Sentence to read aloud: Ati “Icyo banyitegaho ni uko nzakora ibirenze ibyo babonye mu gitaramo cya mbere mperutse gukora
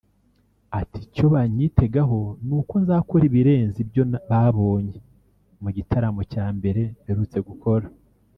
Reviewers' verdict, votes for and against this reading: rejected, 2, 3